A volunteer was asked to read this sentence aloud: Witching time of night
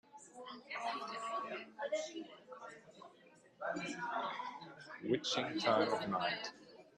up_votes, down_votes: 0, 2